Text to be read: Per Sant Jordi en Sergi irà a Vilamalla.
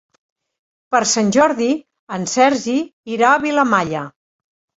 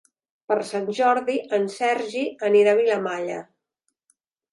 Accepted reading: first